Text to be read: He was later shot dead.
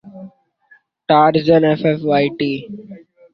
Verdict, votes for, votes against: rejected, 0, 2